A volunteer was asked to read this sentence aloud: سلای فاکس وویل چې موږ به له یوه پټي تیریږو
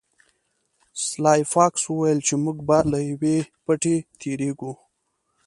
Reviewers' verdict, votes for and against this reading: accepted, 2, 1